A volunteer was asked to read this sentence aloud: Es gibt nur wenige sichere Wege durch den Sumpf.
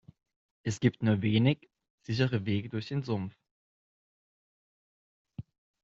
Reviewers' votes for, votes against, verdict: 0, 2, rejected